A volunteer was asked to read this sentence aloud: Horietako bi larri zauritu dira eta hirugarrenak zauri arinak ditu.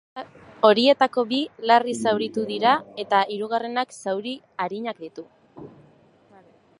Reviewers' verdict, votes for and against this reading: rejected, 2, 2